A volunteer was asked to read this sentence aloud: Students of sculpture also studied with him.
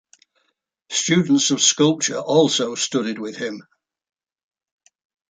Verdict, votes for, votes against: accepted, 2, 0